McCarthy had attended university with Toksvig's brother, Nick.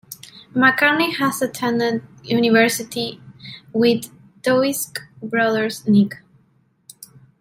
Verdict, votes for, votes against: accepted, 2, 1